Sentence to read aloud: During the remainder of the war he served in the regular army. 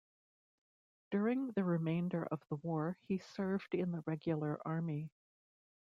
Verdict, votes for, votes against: rejected, 1, 2